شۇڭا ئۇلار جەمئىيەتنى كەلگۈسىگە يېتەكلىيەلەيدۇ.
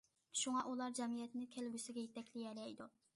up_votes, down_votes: 2, 0